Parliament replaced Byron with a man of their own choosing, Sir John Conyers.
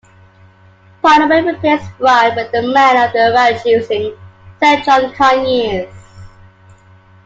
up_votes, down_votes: 0, 2